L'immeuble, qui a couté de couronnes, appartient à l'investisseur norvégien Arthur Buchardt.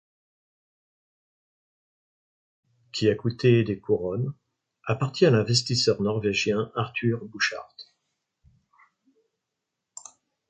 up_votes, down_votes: 0, 2